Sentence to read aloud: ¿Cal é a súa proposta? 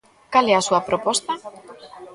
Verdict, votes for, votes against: rejected, 1, 2